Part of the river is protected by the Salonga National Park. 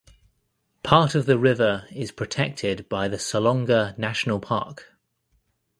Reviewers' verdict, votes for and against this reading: accepted, 2, 1